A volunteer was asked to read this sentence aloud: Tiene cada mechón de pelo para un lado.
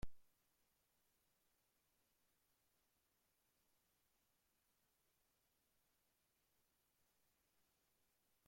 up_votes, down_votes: 0, 2